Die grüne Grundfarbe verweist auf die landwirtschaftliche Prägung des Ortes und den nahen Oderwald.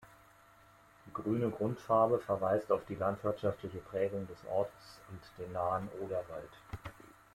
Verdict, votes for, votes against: accepted, 2, 0